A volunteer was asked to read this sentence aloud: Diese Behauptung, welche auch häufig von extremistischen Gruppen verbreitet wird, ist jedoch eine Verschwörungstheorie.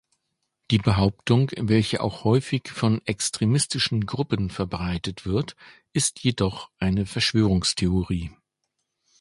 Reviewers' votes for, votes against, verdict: 0, 2, rejected